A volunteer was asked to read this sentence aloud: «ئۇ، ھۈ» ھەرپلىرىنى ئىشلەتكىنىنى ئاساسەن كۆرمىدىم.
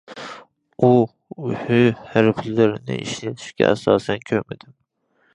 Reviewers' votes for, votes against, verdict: 0, 2, rejected